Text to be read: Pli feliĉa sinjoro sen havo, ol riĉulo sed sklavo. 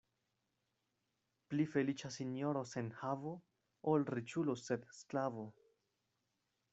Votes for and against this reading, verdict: 1, 2, rejected